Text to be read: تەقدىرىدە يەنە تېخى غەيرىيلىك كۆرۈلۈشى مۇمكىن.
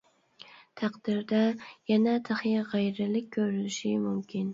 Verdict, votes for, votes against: rejected, 0, 2